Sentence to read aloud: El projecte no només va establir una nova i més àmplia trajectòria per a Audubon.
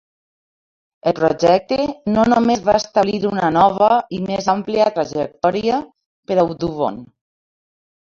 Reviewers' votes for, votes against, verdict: 0, 3, rejected